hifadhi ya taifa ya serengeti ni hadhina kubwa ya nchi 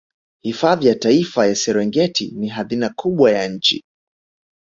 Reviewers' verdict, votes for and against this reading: accepted, 3, 0